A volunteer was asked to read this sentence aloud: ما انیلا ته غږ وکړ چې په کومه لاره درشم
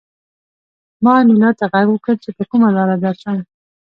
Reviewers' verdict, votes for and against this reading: rejected, 1, 2